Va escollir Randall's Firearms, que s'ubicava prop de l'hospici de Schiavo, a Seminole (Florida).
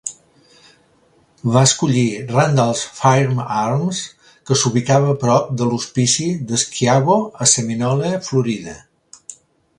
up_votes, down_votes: 0, 2